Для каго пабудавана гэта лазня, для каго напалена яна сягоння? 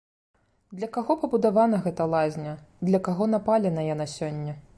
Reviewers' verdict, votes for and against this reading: rejected, 1, 2